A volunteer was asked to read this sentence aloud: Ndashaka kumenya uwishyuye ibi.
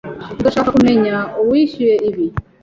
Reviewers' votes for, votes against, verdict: 2, 0, accepted